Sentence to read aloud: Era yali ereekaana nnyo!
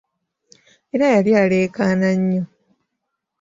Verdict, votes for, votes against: rejected, 1, 2